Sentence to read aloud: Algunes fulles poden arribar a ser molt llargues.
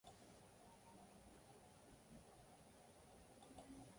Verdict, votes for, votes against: rejected, 0, 2